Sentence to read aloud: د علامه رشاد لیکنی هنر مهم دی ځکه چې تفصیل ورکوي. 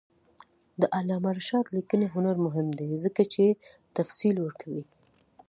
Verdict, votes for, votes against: accepted, 2, 0